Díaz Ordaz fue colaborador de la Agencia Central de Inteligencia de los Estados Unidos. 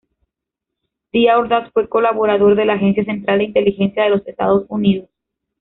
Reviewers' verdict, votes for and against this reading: rejected, 1, 2